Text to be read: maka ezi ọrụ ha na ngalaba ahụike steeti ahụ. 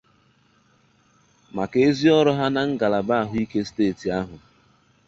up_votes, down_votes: 2, 0